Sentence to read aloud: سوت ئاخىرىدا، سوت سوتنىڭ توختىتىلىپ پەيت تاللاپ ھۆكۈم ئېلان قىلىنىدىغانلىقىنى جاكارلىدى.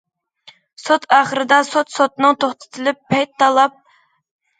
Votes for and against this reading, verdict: 0, 2, rejected